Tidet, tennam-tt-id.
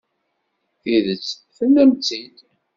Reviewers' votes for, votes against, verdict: 2, 0, accepted